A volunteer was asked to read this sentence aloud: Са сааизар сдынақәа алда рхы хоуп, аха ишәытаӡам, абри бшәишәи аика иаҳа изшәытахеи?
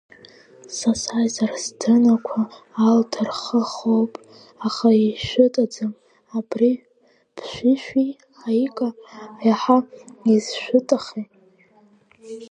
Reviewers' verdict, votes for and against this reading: rejected, 0, 2